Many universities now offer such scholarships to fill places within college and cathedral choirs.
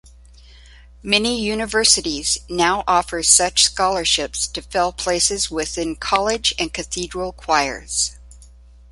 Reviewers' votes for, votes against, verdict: 2, 0, accepted